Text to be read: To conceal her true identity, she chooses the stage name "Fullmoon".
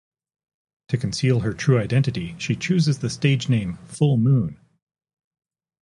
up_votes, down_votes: 2, 2